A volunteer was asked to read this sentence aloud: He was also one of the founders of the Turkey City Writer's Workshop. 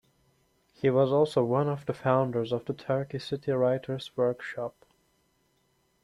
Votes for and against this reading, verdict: 2, 0, accepted